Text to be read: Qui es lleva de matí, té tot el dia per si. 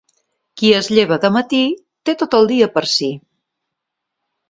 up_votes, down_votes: 2, 0